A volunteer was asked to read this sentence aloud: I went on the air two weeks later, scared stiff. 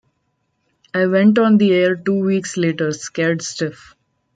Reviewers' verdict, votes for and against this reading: accepted, 2, 0